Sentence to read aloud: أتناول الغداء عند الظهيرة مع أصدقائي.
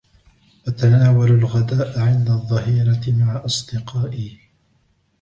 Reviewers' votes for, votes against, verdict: 2, 1, accepted